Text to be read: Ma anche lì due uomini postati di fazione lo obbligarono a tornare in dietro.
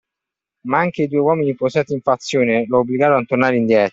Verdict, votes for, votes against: rejected, 1, 2